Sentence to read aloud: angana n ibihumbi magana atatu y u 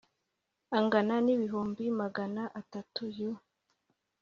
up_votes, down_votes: 2, 0